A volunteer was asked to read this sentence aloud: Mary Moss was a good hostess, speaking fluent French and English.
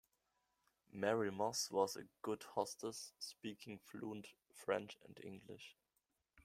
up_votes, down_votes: 2, 0